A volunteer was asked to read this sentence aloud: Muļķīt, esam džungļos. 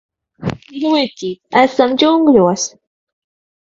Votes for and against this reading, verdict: 3, 6, rejected